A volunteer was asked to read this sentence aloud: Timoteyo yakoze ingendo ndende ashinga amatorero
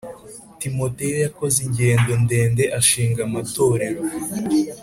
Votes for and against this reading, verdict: 4, 0, accepted